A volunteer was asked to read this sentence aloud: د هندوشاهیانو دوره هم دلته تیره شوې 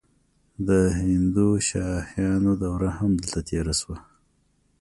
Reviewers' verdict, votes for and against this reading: accepted, 2, 0